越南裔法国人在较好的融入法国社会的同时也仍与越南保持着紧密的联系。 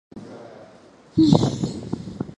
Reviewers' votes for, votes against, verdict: 0, 3, rejected